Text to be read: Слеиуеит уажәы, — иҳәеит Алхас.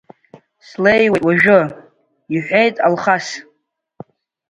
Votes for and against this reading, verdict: 1, 2, rejected